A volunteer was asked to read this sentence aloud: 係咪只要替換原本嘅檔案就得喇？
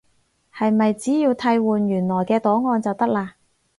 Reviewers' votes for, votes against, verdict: 2, 2, rejected